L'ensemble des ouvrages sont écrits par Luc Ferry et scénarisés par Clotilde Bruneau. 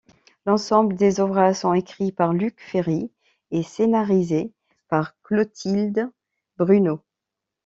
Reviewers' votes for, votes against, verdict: 2, 0, accepted